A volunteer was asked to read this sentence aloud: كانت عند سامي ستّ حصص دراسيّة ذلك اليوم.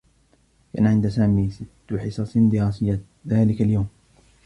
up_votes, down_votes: 2, 1